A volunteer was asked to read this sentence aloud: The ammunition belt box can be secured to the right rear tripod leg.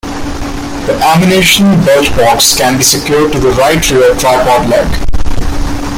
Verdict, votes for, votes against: rejected, 1, 2